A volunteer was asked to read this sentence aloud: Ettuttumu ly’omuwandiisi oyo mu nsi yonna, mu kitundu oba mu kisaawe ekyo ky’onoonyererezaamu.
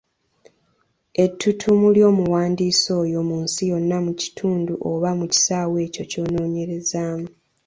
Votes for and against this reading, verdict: 2, 0, accepted